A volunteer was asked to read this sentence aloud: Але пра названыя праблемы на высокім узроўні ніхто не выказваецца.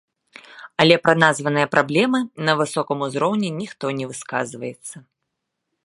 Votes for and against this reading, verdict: 1, 2, rejected